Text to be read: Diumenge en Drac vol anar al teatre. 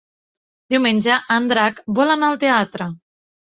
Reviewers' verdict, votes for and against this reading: accepted, 3, 0